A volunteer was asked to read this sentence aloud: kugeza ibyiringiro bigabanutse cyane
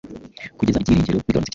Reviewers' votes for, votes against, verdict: 0, 2, rejected